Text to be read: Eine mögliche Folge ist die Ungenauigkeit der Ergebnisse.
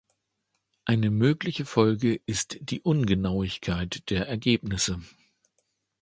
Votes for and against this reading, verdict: 2, 0, accepted